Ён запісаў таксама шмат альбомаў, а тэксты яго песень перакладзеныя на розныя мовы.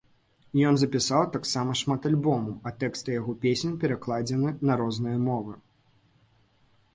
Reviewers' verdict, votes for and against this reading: rejected, 0, 2